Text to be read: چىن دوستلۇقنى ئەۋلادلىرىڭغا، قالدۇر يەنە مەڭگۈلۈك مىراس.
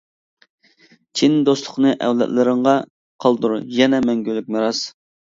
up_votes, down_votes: 2, 0